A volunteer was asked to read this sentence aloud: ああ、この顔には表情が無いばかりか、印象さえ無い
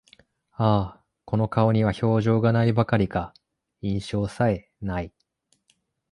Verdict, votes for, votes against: accepted, 4, 1